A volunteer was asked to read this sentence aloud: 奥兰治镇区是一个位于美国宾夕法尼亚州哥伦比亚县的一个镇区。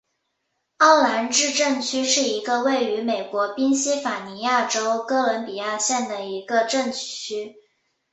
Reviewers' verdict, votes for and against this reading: accepted, 5, 0